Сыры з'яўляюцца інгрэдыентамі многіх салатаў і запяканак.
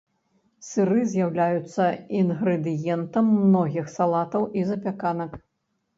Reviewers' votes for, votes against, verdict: 1, 2, rejected